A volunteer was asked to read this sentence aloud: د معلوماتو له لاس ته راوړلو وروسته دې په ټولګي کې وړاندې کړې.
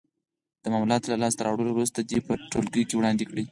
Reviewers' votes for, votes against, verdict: 4, 2, accepted